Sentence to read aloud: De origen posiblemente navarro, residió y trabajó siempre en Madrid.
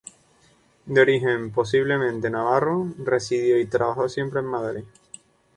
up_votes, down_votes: 0, 2